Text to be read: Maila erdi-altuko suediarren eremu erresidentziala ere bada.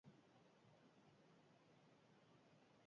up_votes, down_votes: 0, 4